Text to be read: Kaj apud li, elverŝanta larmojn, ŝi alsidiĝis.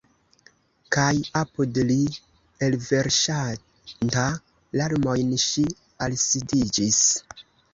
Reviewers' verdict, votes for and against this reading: rejected, 1, 2